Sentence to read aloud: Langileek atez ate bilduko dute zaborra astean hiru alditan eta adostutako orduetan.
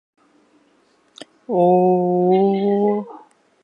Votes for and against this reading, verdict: 0, 2, rejected